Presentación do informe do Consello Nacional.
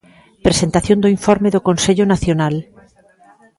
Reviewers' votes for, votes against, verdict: 2, 0, accepted